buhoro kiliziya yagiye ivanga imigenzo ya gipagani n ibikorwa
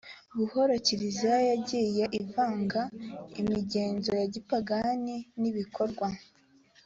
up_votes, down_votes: 3, 0